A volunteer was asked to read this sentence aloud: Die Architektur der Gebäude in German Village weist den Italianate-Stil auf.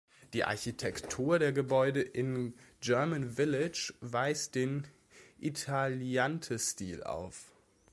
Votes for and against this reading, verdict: 0, 2, rejected